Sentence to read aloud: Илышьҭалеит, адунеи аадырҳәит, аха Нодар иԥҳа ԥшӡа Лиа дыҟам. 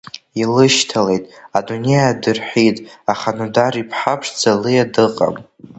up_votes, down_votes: 2, 0